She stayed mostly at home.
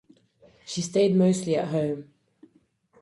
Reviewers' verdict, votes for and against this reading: accepted, 4, 2